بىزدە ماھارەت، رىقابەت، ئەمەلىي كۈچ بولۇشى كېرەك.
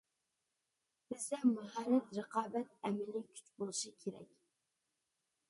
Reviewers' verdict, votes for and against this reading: accepted, 2, 0